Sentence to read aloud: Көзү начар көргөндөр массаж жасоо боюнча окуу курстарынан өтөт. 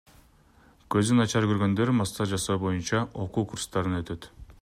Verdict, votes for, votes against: rejected, 1, 2